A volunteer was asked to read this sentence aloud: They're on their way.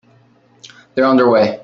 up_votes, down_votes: 0, 2